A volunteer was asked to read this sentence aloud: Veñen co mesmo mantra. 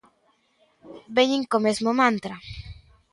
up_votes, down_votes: 2, 0